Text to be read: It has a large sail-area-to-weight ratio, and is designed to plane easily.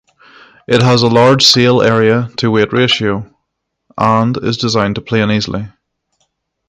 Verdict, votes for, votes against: rejected, 3, 3